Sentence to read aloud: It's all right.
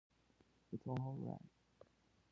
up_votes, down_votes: 1, 2